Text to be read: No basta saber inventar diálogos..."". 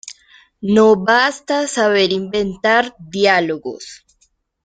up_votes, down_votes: 2, 0